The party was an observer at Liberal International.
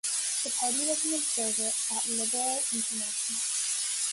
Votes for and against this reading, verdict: 1, 2, rejected